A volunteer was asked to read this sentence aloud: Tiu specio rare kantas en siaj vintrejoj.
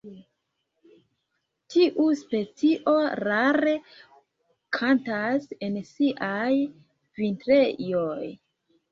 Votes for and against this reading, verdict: 2, 0, accepted